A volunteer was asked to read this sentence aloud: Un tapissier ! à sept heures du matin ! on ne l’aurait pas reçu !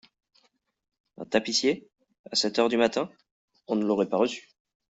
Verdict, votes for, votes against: accepted, 2, 0